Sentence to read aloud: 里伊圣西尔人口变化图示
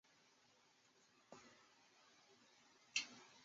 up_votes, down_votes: 0, 3